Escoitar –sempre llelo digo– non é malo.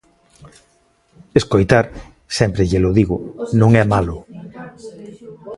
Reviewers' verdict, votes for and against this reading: rejected, 1, 2